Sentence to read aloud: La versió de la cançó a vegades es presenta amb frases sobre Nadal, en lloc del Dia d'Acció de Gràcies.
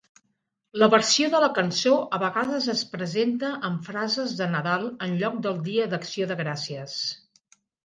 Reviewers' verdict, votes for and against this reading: rejected, 1, 2